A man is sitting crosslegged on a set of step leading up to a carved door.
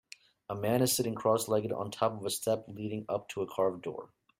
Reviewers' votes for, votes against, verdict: 0, 4, rejected